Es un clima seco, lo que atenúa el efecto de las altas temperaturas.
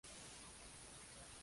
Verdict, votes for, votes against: rejected, 0, 2